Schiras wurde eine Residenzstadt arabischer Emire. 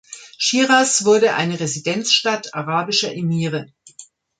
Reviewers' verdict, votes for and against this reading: accepted, 2, 0